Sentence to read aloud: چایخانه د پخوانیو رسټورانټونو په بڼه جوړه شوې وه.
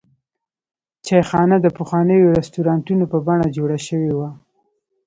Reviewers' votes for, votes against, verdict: 2, 0, accepted